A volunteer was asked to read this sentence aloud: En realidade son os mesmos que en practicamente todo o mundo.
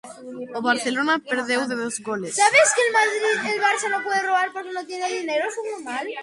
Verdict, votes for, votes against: rejected, 0, 2